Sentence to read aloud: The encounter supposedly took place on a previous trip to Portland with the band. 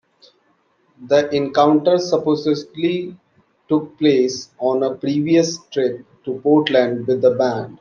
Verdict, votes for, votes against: accepted, 2, 0